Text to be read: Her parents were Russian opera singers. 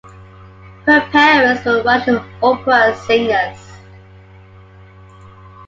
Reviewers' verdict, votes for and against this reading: accepted, 2, 1